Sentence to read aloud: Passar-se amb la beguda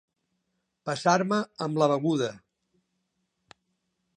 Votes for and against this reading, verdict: 0, 2, rejected